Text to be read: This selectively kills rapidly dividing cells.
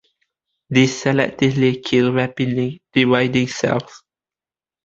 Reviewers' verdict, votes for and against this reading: rejected, 1, 2